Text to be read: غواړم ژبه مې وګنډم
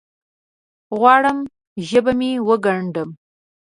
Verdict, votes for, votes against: accepted, 2, 0